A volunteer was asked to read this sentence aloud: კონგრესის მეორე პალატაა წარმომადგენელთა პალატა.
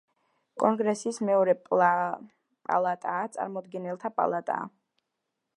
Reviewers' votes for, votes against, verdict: 0, 2, rejected